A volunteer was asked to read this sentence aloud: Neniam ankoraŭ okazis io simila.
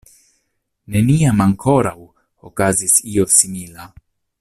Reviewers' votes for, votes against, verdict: 2, 0, accepted